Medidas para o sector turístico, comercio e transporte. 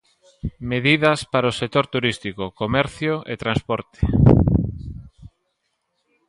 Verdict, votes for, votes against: accepted, 2, 0